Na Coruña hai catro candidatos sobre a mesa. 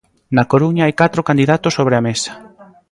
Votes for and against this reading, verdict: 2, 0, accepted